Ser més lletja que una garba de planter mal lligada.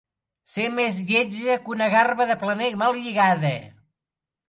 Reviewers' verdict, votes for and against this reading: rejected, 1, 2